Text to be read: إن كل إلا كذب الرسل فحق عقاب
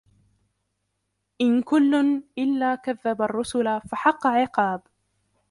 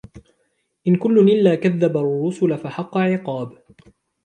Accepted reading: second